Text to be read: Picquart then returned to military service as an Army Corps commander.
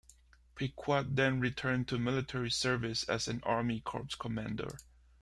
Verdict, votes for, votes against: accepted, 3, 0